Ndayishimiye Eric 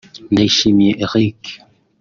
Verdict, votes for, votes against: accepted, 2, 1